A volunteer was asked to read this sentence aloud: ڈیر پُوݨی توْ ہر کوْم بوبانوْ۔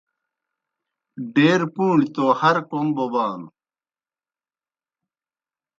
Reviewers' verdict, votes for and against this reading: accepted, 2, 0